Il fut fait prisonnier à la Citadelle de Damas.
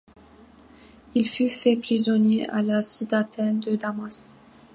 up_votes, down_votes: 2, 1